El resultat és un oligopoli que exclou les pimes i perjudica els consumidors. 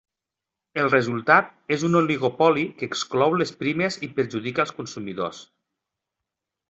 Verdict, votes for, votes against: rejected, 1, 2